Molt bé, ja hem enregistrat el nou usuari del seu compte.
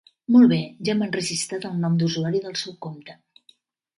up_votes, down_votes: 1, 2